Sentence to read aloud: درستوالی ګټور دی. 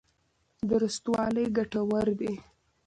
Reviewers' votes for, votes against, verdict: 2, 0, accepted